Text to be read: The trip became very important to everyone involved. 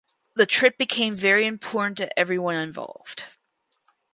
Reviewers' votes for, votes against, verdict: 0, 4, rejected